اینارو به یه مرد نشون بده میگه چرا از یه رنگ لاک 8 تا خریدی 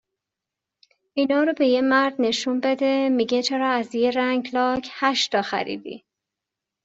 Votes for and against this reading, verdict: 0, 2, rejected